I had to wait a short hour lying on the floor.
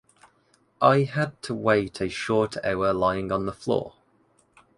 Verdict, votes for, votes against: accepted, 2, 0